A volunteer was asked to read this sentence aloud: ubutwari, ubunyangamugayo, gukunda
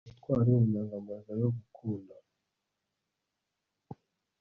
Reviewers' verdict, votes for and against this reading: rejected, 1, 2